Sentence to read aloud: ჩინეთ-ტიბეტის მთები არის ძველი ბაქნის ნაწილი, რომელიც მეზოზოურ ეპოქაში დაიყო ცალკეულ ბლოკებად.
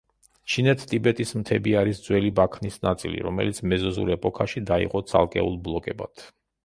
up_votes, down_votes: 0, 2